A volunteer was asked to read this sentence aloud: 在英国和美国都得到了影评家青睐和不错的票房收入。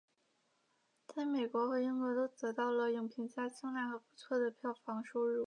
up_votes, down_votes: 2, 3